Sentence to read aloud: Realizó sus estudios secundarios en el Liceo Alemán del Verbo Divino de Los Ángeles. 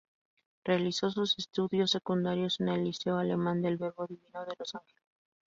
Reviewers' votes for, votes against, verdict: 4, 0, accepted